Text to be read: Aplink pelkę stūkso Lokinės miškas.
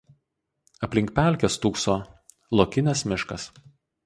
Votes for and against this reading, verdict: 4, 0, accepted